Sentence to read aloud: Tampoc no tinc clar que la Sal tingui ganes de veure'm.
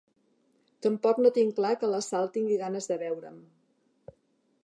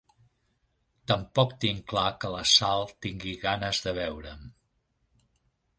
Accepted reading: first